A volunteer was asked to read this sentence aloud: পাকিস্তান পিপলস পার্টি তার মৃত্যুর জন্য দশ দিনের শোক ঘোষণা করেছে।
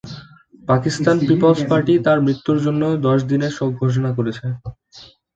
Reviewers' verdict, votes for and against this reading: accepted, 2, 0